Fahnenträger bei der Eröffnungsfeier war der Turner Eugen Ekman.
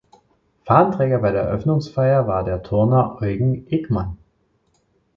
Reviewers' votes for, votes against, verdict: 2, 0, accepted